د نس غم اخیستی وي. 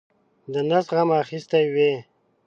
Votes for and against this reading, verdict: 2, 0, accepted